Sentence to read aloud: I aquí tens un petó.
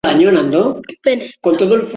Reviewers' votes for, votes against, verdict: 0, 2, rejected